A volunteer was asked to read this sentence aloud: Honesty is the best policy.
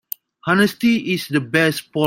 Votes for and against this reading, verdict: 0, 2, rejected